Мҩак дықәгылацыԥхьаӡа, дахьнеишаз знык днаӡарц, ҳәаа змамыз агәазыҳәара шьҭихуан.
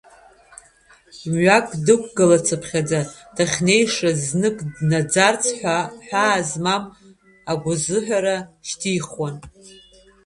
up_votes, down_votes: 0, 2